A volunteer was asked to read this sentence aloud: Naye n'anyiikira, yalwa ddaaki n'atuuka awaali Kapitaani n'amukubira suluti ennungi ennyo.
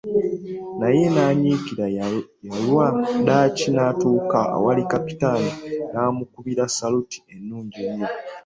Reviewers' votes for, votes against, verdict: 0, 2, rejected